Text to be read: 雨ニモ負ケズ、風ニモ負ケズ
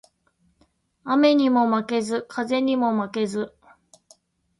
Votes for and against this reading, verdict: 2, 0, accepted